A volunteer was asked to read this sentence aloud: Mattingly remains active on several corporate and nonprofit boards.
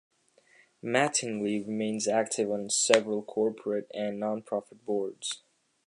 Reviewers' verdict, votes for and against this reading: accepted, 2, 0